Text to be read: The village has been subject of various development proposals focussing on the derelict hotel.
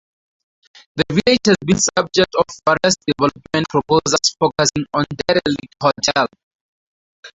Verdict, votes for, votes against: rejected, 2, 2